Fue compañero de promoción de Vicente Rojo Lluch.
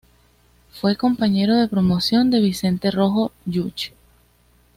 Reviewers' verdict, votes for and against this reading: accepted, 2, 0